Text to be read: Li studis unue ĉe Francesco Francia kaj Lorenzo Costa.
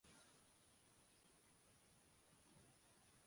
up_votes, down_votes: 0, 2